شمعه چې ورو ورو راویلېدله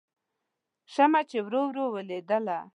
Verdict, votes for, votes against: rejected, 1, 2